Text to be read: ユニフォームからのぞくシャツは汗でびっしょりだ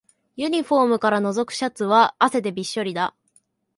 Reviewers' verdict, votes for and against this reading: accepted, 2, 0